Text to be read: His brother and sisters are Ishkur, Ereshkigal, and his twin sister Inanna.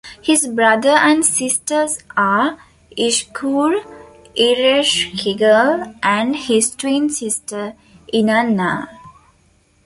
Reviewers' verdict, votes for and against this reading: accepted, 2, 0